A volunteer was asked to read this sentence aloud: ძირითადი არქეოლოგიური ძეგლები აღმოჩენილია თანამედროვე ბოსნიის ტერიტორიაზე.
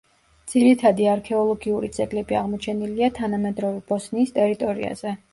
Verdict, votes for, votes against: rejected, 1, 2